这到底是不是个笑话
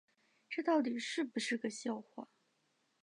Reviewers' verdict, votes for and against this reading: accepted, 2, 1